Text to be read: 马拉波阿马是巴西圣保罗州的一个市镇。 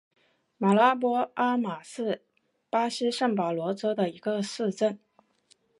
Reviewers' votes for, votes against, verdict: 2, 0, accepted